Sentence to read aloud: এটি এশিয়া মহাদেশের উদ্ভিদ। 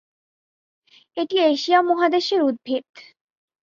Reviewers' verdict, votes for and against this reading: accepted, 5, 0